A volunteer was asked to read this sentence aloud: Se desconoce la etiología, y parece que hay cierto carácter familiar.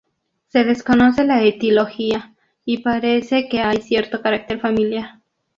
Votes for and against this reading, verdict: 0, 2, rejected